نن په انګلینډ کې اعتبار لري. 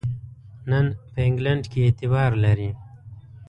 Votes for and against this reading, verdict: 2, 0, accepted